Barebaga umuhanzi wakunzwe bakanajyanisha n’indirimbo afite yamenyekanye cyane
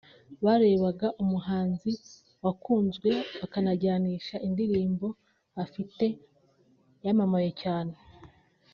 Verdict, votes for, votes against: rejected, 1, 2